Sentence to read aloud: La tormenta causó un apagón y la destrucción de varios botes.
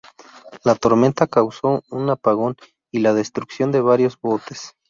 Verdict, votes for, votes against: accepted, 2, 0